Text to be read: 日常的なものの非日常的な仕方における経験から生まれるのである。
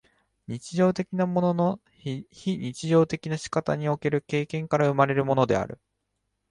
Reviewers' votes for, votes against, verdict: 0, 2, rejected